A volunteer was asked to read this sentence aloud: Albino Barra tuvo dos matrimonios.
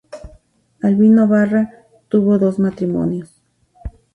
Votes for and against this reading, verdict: 4, 0, accepted